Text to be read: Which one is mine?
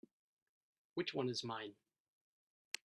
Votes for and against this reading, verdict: 3, 0, accepted